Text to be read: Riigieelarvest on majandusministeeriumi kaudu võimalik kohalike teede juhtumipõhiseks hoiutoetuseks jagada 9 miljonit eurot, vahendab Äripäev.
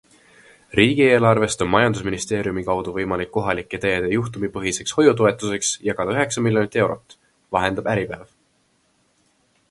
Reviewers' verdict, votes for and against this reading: rejected, 0, 2